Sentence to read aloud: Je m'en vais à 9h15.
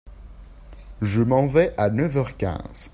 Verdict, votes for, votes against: rejected, 0, 2